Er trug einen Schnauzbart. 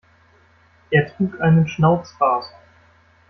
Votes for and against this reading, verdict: 2, 0, accepted